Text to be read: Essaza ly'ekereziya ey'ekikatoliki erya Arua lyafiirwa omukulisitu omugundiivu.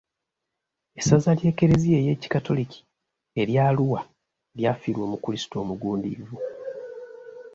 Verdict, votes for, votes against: accepted, 2, 0